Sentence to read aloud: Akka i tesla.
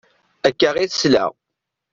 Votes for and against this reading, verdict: 2, 0, accepted